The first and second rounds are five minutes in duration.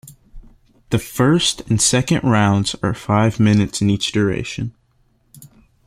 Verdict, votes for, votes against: rejected, 0, 2